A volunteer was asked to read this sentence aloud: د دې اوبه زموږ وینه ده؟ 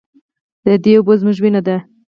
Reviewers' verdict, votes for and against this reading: rejected, 2, 4